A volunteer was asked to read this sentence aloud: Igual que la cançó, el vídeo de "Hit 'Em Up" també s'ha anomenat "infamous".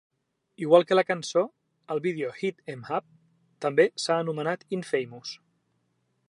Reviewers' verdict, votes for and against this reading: accepted, 2, 0